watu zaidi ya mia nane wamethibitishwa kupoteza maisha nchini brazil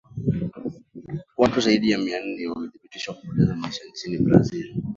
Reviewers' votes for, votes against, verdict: 0, 2, rejected